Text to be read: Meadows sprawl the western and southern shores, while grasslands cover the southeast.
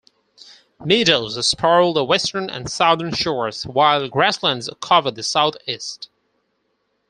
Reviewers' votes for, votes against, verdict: 2, 4, rejected